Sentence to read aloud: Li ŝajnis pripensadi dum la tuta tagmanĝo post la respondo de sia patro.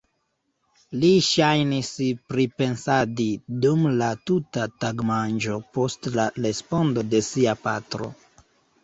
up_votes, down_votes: 0, 2